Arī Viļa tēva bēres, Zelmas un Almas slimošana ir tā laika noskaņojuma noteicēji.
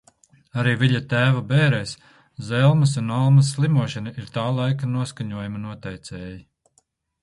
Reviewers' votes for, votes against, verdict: 0, 2, rejected